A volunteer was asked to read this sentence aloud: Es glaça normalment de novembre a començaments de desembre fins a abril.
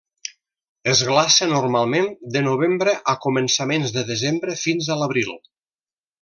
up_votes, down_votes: 1, 2